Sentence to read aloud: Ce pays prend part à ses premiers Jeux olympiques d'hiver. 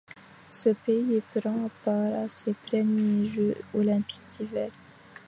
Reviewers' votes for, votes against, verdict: 0, 2, rejected